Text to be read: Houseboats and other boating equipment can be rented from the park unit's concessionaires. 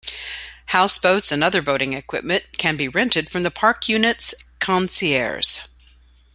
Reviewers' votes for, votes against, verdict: 1, 3, rejected